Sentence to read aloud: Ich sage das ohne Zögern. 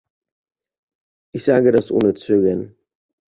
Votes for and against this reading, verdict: 2, 0, accepted